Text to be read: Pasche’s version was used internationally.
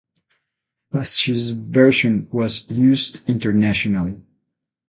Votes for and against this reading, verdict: 8, 0, accepted